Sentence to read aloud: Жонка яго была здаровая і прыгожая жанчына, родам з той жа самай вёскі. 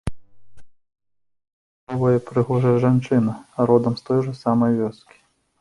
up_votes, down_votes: 0, 2